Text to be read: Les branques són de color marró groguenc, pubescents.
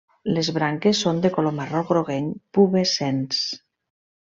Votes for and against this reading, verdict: 2, 0, accepted